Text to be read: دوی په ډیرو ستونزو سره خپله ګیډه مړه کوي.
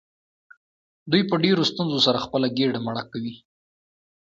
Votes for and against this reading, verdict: 2, 0, accepted